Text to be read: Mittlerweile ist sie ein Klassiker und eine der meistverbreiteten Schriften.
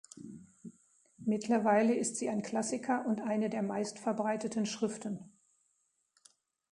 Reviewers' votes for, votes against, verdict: 2, 0, accepted